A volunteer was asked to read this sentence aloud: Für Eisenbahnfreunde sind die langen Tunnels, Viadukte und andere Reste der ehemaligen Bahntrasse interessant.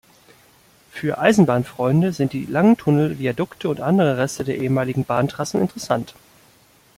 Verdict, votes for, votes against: rejected, 0, 2